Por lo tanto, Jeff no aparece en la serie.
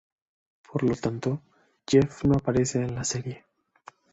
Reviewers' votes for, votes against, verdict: 2, 0, accepted